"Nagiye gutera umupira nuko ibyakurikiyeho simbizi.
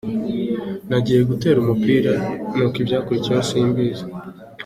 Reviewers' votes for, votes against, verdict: 2, 1, accepted